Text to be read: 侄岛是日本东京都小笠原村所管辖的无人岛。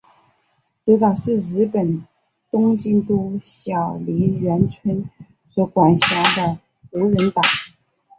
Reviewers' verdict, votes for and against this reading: accepted, 2, 1